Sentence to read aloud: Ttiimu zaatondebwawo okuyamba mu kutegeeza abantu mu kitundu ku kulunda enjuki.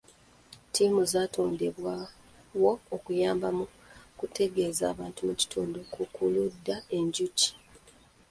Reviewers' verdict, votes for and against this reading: accepted, 2, 0